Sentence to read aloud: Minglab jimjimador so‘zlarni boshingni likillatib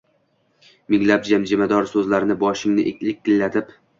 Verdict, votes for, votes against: accepted, 2, 1